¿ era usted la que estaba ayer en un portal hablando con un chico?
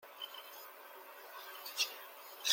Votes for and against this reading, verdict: 0, 2, rejected